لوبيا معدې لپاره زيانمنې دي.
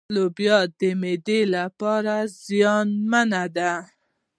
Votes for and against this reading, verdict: 2, 0, accepted